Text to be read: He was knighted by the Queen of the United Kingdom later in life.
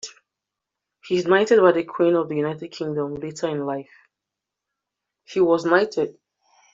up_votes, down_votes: 0, 2